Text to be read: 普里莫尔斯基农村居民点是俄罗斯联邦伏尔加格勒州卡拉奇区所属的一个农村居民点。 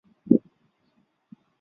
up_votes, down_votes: 0, 5